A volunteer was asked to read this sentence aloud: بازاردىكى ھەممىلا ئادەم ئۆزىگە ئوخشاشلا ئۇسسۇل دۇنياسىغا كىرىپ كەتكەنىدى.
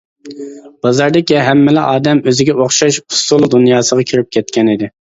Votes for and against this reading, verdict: 0, 2, rejected